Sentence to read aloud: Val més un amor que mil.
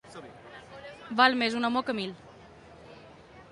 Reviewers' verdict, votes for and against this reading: rejected, 0, 2